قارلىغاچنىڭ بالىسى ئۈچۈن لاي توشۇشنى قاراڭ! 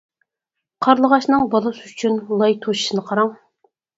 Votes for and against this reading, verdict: 4, 0, accepted